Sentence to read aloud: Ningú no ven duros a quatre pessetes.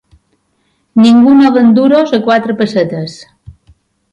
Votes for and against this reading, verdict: 3, 0, accepted